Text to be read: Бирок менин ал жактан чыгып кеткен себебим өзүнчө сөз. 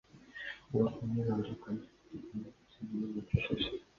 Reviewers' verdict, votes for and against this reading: rejected, 0, 2